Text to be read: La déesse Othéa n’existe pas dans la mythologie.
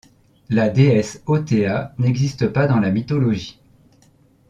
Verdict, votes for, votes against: accepted, 2, 0